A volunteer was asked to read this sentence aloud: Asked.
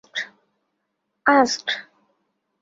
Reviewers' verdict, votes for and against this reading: accepted, 2, 0